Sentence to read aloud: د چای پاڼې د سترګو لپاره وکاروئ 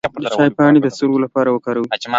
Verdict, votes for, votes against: accepted, 2, 0